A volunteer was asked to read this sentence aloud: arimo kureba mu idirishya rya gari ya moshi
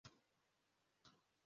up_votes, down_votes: 0, 2